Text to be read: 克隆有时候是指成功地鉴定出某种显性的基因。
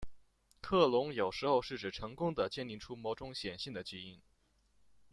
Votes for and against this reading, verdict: 2, 0, accepted